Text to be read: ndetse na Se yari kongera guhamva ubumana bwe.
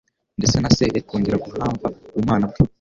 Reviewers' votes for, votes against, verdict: 2, 0, accepted